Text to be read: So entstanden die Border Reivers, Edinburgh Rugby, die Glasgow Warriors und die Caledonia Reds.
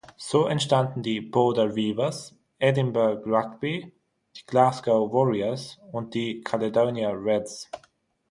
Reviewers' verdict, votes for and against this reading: accepted, 6, 0